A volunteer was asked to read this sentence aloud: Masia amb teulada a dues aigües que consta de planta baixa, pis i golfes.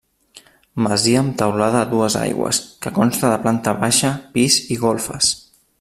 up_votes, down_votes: 3, 1